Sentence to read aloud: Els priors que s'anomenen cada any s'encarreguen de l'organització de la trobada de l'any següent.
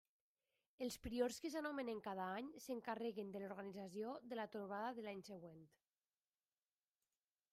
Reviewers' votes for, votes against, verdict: 1, 2, rejected